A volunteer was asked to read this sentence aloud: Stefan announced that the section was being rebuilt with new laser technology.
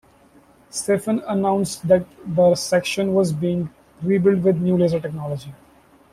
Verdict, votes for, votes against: rejected, 0, 2